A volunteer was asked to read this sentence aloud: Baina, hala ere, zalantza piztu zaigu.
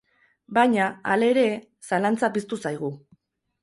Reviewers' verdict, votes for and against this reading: rejected, 0, 2